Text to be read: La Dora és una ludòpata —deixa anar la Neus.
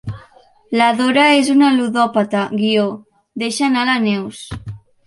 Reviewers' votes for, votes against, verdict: 2, 1, accepted